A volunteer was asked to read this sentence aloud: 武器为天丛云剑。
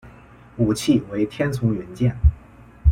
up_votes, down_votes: 2, 0